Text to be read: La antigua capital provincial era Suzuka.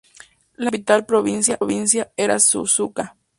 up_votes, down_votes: 0, 2